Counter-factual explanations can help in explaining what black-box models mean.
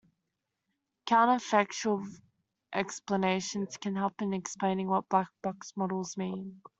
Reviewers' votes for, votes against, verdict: 2, 0, accepted